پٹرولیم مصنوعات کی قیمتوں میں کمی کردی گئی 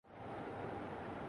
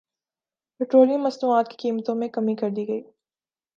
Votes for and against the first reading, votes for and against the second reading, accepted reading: 0, 3, 2, 0, second